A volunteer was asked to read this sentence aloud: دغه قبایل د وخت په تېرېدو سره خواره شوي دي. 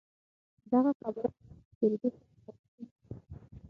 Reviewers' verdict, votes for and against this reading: rejected, 0, 6